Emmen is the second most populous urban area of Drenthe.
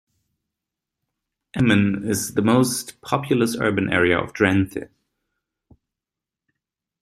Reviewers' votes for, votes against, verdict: 0, 2, rejected